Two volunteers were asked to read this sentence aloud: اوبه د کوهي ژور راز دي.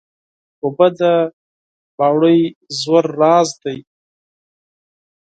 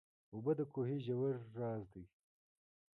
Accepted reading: second